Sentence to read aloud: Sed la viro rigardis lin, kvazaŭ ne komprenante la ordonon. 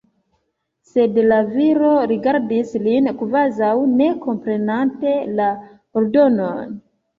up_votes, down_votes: 2, 1